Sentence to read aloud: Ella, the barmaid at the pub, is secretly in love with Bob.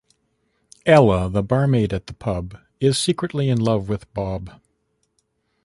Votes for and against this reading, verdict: 0, 2, rejected